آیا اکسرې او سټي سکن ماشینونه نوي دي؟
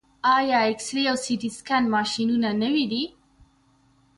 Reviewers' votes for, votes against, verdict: 2, 0, accepted